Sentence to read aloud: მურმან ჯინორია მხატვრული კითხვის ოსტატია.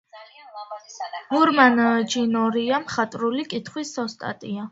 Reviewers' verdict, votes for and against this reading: accepted, 2, 0